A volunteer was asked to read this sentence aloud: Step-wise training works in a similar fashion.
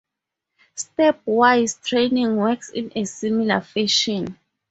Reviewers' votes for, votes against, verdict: 2, 0, accepted